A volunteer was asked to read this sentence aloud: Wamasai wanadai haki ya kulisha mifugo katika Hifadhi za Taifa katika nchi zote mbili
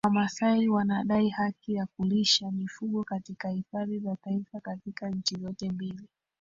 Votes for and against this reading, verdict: 1, 2, rejected